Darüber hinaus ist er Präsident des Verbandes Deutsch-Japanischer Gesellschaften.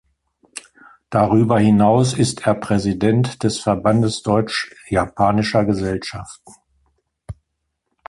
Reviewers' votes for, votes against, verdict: 2, 0, accepted